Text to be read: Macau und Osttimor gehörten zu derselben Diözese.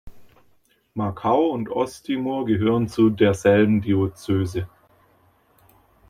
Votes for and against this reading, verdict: 2, 1, accepted